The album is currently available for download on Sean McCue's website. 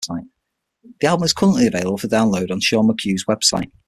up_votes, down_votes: 0, 6